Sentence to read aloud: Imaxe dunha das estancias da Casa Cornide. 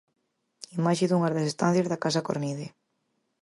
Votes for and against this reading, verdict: 4, 0, accepted